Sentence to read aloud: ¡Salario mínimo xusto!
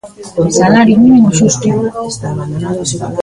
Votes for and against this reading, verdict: 1, 2, rejected